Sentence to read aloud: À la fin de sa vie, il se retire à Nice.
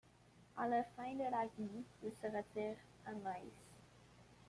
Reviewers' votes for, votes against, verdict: 0, 2, rejected